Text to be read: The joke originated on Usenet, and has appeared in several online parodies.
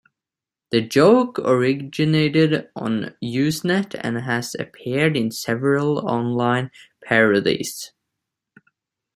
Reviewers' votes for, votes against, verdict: 3, 2, accepted